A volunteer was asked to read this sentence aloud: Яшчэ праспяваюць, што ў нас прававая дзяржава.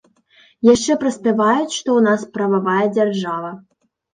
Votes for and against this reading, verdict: 2, 0, accepted